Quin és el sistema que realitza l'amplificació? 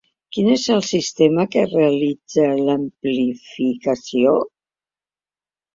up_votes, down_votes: 2, 1